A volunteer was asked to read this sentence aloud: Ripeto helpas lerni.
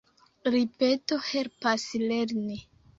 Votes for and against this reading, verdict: 1, 2, rejected